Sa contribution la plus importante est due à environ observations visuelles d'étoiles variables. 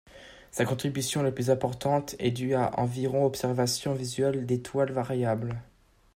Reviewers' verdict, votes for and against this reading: accepted, 2, 0